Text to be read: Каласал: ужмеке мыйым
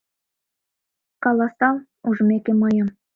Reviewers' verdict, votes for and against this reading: accepted, 2, 0